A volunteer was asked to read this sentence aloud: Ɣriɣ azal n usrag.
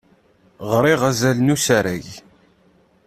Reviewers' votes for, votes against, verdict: 1, 3, rejected